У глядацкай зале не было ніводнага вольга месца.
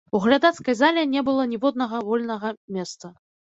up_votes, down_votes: 0, 2